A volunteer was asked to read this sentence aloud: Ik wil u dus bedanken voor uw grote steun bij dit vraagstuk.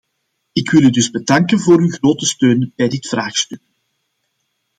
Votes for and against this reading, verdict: 2, 0, accepted